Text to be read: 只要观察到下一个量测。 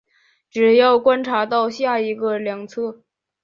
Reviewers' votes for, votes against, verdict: 3, 0, accepted